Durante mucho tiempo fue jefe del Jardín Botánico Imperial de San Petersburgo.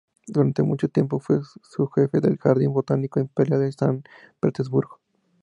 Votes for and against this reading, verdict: 0, 4, rejected